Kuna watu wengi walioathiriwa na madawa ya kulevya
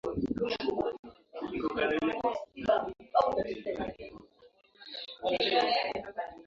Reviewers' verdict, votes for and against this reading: rejected, 0, 2